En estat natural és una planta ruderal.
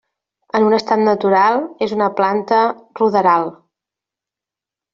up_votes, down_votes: 1, 2